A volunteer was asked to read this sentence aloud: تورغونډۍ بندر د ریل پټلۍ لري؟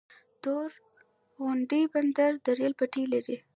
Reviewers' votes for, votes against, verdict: 2, 0, accepted